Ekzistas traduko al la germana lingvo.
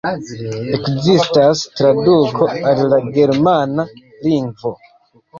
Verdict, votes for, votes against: accepted, 2, 1